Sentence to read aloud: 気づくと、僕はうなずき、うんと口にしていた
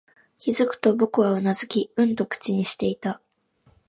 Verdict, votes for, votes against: accepted, 2, 0